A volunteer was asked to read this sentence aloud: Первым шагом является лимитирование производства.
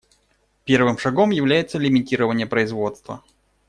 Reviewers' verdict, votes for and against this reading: rejected, 1, 2